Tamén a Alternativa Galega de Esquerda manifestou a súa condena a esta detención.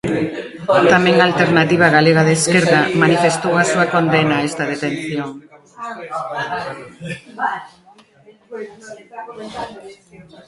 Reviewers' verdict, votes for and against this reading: rejected, 0, 2